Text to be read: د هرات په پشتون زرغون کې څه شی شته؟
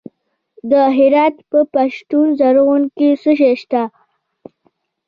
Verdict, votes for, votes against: rejected, 0, 2